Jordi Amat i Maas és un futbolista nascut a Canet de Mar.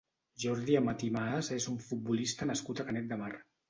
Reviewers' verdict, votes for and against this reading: accepted, 2, 0